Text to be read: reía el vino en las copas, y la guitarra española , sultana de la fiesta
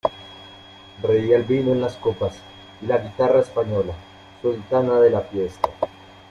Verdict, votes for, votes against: accepted, 2, 0